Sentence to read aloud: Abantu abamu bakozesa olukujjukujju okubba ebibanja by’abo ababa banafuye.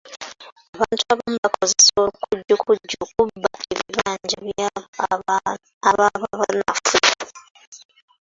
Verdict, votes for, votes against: rejected, 0, 2